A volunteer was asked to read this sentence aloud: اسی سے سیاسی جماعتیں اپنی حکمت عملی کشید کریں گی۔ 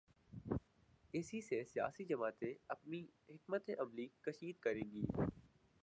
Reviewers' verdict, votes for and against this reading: rejected, 0, 2